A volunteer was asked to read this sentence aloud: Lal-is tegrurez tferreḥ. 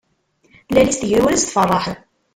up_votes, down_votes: 0, 2